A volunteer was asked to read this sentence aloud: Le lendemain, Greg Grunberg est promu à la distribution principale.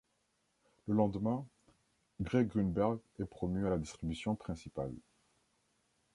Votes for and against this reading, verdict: 2, 0, accepted